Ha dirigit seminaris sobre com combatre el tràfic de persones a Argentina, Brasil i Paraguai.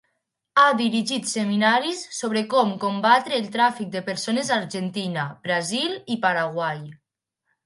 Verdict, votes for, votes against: accepted, 2, 0